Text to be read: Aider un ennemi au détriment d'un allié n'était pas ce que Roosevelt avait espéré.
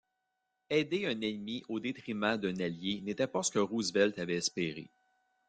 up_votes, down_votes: 0, 2